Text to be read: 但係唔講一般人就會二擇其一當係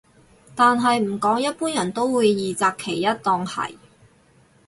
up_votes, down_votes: 2, 4